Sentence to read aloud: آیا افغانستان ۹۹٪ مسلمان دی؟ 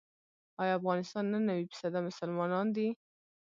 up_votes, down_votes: 0, 2